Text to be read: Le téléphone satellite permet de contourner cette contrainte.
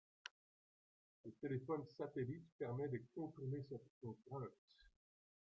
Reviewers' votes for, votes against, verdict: 2, 1, accepted